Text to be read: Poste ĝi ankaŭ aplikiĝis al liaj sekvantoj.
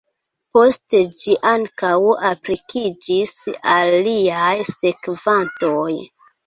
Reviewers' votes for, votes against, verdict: 1, 2, rejected